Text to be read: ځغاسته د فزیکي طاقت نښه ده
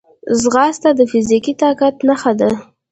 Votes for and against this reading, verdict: 0, 2, rejected